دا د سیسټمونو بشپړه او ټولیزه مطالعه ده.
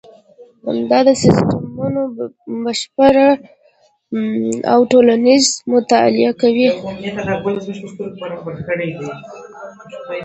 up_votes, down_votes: 0, 2